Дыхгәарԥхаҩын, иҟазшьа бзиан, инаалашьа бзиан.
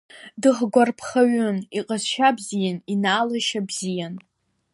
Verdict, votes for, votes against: accepted, 2, 1